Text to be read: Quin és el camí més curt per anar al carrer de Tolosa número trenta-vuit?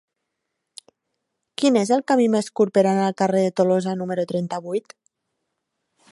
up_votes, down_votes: 3, 0